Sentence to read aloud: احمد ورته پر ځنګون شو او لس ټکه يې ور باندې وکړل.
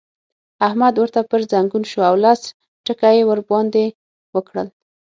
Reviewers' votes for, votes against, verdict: 6, 0, accepted